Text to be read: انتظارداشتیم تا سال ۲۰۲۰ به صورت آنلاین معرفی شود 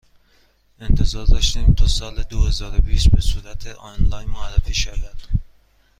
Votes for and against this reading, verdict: 0, 2, rejected